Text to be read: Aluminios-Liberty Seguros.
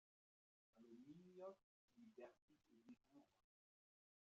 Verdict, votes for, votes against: rejected, 0, 2